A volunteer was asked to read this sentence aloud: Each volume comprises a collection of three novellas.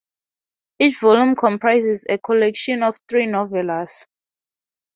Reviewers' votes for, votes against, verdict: 2, 0, accepted